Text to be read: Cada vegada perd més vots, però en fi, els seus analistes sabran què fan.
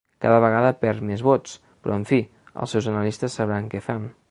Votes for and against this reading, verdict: 2, 1, accepted